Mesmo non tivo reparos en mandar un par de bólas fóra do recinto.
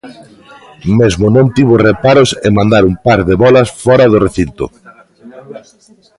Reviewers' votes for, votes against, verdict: 2, 0, accepted